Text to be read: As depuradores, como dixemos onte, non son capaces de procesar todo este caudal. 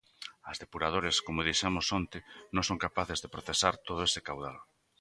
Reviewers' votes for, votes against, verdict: 2, 0, accepted